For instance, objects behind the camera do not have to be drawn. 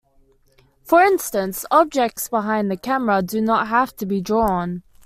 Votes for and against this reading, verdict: 2, 0, accepted